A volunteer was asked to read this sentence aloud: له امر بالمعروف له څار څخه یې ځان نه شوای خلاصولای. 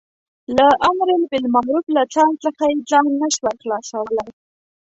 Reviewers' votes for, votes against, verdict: 0, 2, rejected